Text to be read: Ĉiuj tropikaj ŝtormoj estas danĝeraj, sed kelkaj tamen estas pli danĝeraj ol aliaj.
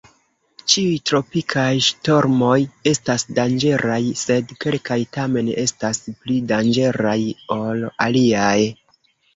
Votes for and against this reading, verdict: 1, 2, rejected